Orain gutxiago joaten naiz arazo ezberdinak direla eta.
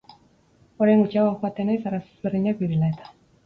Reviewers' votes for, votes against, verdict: 2, 2, rejected